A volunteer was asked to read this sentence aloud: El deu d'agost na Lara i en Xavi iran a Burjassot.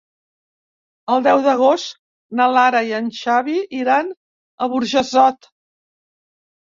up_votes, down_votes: 2, 0